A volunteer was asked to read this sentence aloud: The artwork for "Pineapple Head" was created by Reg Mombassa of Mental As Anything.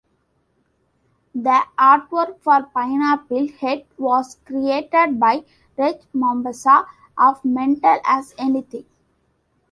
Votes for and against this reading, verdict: 2, 0, accepted